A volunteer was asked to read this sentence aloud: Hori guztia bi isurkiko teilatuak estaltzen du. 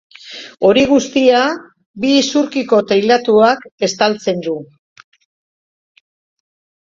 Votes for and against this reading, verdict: 2, 0, accepted